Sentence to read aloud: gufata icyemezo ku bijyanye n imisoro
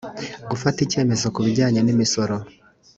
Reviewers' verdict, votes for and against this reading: accepted, 2, 0